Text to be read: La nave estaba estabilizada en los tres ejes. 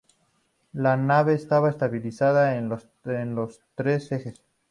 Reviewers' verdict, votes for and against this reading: accepted, 2, 0